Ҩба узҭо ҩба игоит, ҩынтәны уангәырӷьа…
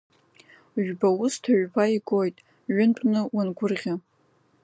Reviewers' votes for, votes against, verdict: 2, 1, accepted